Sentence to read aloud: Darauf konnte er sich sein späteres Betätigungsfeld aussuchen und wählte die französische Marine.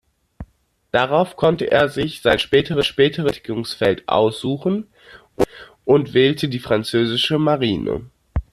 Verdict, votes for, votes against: rejected, 0, 2